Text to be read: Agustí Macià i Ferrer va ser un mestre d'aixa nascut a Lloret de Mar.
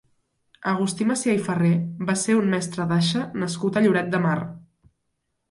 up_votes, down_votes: 2, 0